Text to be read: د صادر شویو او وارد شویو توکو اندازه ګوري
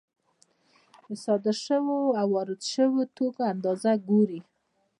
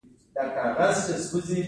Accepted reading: second